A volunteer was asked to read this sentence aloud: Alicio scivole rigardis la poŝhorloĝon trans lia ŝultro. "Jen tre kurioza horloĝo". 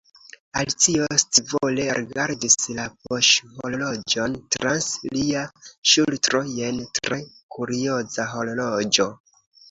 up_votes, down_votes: 2, 0